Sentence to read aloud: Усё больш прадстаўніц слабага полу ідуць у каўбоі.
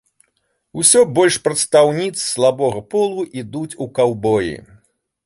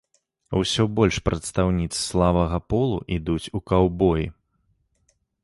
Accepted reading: second